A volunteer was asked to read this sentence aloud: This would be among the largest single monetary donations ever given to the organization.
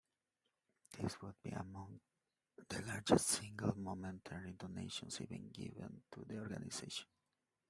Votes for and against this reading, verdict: 1, 2, rejected